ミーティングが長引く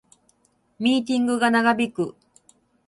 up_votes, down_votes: 2, 2